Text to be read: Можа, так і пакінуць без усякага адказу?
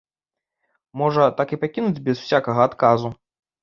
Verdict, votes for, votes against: accepted, 2, 0